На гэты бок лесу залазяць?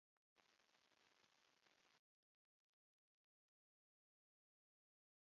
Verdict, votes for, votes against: rejected, 0, 2